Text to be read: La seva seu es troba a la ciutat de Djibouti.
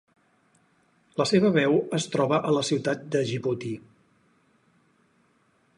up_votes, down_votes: 4, 6